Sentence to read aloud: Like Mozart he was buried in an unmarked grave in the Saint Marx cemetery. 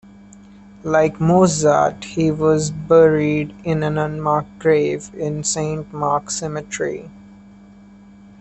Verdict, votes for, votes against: rejected, 0, 2